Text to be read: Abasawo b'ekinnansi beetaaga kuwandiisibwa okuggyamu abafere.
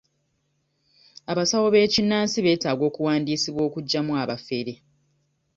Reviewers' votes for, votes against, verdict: 0, 2, rejected